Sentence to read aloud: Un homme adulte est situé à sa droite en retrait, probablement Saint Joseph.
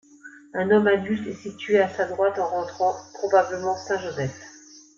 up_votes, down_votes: 0, 2